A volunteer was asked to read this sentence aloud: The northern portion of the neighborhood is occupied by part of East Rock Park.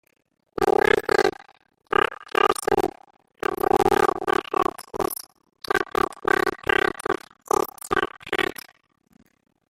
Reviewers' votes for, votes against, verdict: 0, 2, rejected